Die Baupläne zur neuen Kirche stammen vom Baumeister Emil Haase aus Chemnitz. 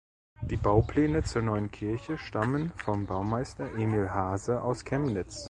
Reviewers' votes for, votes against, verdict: 2, 0, accepted